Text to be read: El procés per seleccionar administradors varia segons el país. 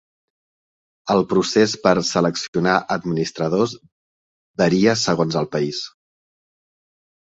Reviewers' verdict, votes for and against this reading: accepted, 4, 0